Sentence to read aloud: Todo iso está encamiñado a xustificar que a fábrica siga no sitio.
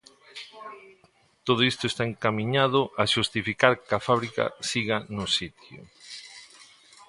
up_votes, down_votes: 1, 2